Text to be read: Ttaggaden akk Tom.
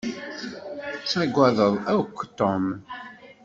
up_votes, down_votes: 1, 2